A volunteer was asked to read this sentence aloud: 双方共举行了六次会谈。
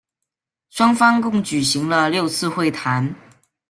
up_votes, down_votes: 2, 0